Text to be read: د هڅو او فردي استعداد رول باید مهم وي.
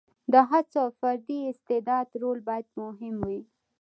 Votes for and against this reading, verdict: 2, 0, accepted